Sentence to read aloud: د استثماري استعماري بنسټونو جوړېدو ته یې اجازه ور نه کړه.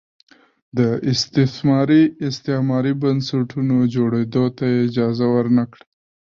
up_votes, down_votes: 0, 2